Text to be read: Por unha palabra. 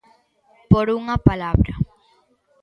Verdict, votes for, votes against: accepted, 2, 0